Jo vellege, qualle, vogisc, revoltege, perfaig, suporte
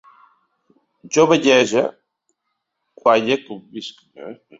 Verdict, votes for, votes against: rejected, 0, 3